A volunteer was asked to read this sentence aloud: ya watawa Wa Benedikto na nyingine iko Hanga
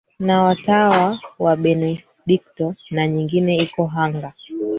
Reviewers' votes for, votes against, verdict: 2, 3, rejected